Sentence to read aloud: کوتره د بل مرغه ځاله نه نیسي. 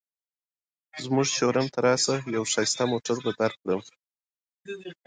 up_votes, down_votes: 2, 0